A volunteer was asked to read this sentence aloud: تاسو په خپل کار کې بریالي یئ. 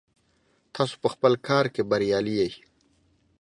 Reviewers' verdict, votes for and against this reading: accepted, 2, 0